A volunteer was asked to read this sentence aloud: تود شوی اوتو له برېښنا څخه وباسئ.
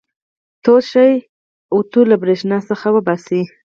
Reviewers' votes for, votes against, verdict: 2, 4, rejected